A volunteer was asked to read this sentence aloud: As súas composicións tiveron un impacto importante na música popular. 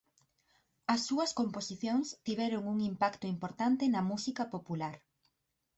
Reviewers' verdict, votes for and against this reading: accepted, 6, 0